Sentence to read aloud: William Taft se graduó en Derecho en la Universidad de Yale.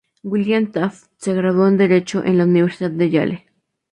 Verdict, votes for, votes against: accepted, 2, 0